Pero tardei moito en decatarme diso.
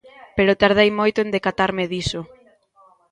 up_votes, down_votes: 0, 2